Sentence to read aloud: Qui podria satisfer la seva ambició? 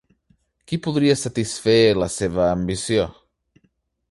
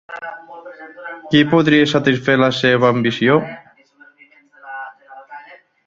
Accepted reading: first